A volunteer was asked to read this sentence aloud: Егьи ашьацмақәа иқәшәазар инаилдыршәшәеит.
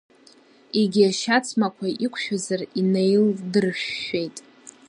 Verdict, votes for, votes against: rejected, 1, 2